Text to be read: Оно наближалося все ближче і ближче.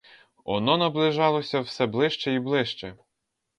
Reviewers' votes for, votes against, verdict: 2, 0, accepted